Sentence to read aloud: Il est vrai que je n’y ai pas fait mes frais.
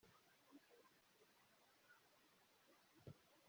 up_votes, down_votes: 0, 2